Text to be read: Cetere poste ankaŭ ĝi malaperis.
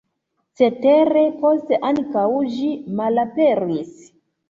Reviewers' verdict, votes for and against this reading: accepted, 2, 0